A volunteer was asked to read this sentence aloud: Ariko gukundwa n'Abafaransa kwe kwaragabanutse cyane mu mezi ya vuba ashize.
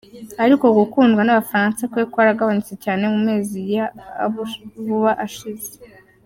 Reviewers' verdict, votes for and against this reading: rejected, 1, 2